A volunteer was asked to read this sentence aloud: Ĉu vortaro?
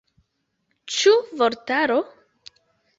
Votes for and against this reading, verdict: 2, 0, accepted